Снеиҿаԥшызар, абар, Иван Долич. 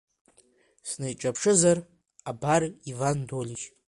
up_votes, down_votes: 0, 2